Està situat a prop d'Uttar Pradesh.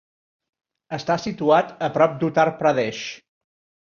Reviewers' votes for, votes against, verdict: 2, 0, accepted